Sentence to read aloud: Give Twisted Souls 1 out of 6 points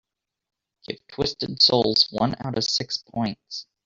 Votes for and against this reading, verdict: 0, 2, rejected